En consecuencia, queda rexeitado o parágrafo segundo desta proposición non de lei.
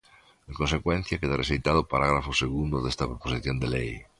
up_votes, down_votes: 1, 2